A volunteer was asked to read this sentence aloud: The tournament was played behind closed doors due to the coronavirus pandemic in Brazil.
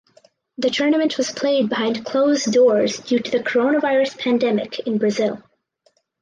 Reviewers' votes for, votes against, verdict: 4, 0, accepted